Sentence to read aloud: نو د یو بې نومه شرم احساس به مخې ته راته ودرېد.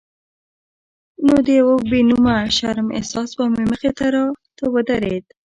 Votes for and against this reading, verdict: 2, 0, accepted